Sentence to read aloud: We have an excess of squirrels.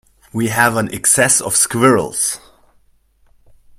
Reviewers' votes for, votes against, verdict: 2, 0, accepted